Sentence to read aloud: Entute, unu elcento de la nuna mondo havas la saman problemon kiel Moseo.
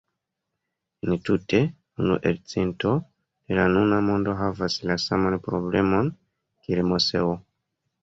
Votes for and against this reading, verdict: 2, 0, accepted